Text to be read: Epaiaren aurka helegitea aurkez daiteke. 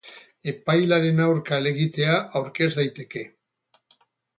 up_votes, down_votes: 0, 2